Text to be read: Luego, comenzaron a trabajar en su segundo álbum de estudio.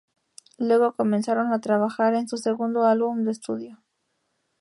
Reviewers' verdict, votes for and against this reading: accepted, 2, 0